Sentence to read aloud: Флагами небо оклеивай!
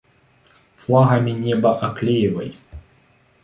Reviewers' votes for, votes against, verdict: 2, 0, accepted